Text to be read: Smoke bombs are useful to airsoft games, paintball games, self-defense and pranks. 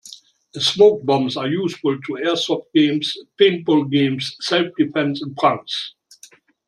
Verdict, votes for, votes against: rejected, 0, 2